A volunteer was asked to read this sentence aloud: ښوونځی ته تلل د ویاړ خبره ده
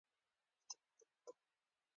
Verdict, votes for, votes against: accepted, 2, 0